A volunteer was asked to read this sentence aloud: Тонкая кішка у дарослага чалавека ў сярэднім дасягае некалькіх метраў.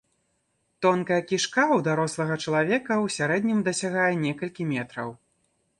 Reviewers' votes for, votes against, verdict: 1, 2, rejected